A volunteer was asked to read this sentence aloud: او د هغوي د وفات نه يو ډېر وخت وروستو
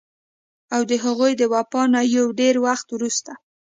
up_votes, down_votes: 2, 0